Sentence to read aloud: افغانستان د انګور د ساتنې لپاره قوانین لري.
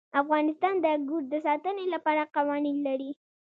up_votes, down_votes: 2, 0